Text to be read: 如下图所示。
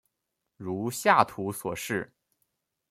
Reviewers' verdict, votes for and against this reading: accepted, 2, 0